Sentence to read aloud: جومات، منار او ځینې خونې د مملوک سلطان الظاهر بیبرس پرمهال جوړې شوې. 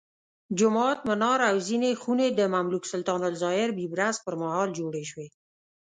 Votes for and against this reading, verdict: 2, 0, accepted